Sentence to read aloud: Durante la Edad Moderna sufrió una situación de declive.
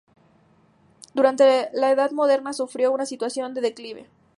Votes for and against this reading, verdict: 2, 0, accepted